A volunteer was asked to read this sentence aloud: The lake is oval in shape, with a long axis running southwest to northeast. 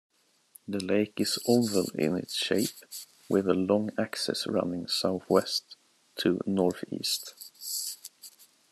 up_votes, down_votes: 0, 2